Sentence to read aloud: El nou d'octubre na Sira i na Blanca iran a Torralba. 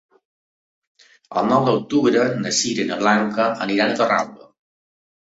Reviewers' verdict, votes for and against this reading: rejected, 0, 2